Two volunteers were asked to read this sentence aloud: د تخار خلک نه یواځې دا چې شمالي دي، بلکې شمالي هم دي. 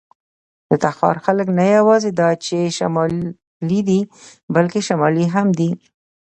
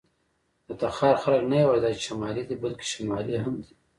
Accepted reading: first